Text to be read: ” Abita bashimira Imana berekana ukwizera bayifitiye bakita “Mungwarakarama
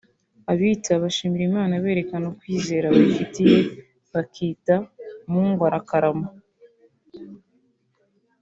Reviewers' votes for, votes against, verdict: 2, 0, accepted